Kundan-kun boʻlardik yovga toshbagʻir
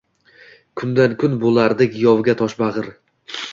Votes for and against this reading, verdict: 2, 0, accepted